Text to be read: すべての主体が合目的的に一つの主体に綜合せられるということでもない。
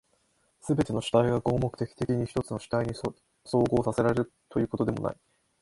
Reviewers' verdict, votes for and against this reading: rejected, 1, 2